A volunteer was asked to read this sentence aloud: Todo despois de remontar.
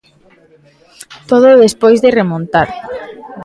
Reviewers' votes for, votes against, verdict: 2, 0, accepted